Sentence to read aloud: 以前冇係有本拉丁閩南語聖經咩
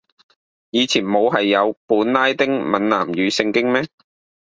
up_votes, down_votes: 2, 0